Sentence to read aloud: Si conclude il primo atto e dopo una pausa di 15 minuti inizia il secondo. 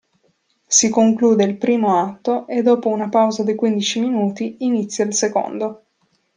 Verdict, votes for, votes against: rejected, 0, 2